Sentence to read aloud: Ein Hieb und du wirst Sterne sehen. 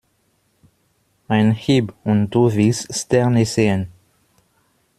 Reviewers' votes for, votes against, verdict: 0, 3, rejected